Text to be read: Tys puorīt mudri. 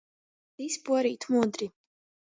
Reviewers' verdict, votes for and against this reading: accepted, 2, 0